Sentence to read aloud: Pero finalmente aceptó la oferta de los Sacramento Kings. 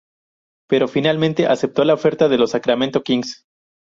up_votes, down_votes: 2, 0